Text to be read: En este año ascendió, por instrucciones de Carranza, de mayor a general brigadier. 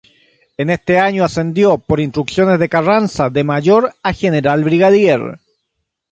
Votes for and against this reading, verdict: 3, 0, accepted